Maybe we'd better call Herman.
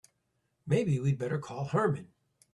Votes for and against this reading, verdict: 1, 2, rejected